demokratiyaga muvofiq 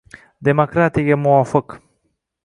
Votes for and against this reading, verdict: 1, 2, rejected